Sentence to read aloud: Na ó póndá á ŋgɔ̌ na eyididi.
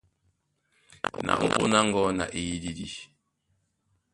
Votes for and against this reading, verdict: 0, 2, rejected